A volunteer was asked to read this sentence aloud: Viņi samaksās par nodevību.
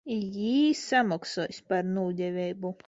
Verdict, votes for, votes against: rejected, 0, 2